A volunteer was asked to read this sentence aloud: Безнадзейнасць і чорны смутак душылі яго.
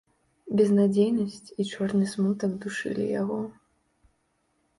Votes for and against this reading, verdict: 2, 0, accepted